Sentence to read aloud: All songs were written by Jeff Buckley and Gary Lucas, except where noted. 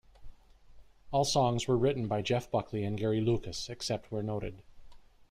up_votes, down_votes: 2, 0